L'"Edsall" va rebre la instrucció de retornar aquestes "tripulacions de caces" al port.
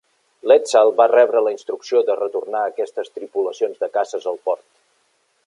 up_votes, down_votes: 2, 0